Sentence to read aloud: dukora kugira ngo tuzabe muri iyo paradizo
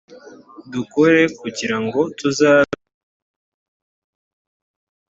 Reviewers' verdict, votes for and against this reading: rejected, 0, 2